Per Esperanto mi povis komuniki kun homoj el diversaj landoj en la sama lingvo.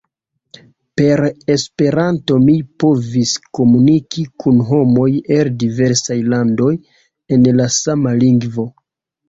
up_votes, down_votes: 0, 2